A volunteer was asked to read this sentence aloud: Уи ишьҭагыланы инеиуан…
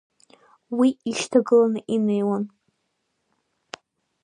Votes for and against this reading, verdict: 2, 0, accepted